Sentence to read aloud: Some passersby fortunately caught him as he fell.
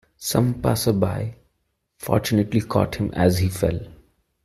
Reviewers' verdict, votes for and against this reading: rejected, 1, 2